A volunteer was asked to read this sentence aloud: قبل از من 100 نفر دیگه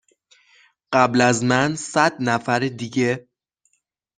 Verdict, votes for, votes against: rejected, 0, 2